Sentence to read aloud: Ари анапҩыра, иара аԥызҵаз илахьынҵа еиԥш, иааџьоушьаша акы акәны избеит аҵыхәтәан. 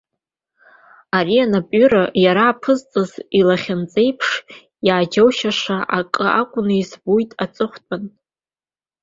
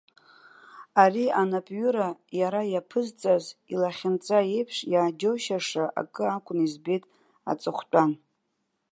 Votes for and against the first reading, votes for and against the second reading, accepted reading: 0, 2, 2, 0, second